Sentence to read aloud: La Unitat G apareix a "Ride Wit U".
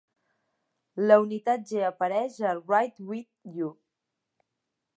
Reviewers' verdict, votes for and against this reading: accepted, 3, 0